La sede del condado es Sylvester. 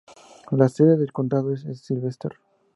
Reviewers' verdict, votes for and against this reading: accepted, 4, 0